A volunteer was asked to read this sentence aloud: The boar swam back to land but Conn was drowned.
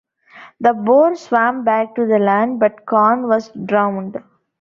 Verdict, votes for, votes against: rejected, 0, 2